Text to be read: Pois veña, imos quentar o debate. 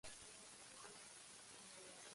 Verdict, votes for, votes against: rejected, 0, 2